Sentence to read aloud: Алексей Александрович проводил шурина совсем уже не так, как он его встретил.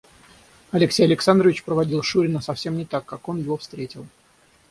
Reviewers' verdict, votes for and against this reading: rejected, 0, 6